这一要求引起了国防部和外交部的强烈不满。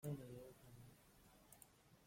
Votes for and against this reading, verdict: 0, 2, rejected